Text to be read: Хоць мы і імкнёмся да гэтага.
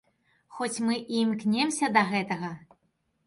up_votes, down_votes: 1, 2